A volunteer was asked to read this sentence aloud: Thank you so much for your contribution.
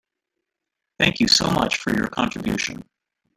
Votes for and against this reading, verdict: 3, 1, accepted